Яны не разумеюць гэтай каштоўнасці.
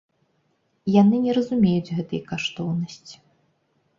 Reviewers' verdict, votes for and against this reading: accepted, 2, 0